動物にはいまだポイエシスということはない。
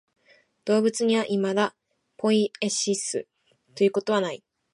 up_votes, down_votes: 2, 0